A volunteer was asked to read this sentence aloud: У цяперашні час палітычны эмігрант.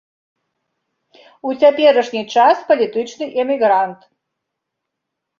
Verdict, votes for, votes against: rejected, 1, 2